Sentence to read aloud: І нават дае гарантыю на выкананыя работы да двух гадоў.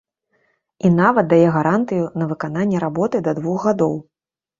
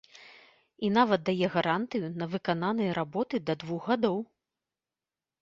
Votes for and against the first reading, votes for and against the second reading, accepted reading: 1, 2, 2, 0, second